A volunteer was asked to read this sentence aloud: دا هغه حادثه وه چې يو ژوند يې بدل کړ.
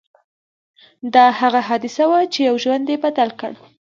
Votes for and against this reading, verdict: 2, 1, accepted